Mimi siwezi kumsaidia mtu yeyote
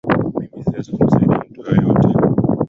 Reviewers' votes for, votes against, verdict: 0, 2, rejected